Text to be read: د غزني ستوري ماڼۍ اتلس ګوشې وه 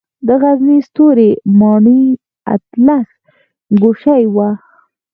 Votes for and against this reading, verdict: 4, 0, accepted